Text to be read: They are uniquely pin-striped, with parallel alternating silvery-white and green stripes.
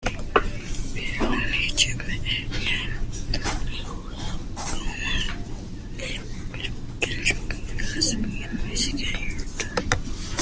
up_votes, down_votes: 0, 2